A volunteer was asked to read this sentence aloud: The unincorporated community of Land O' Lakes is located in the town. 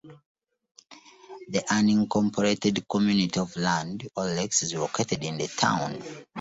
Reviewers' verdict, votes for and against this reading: rejected, 0, 2